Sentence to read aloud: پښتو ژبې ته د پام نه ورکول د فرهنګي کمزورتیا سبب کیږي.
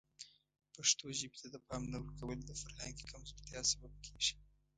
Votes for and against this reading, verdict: 2, 0, accepted